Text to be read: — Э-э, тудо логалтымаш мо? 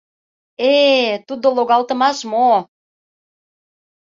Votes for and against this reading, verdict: 2, 0, accepted